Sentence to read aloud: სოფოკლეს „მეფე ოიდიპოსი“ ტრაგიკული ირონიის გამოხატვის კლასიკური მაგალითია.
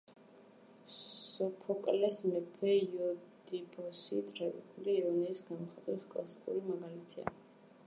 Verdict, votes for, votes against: rejected, 1, 2